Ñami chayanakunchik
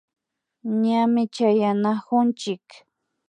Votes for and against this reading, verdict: 2, 0, accepted